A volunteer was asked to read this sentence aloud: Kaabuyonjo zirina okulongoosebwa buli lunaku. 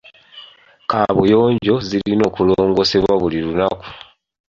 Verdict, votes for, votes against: rejected, 0, 2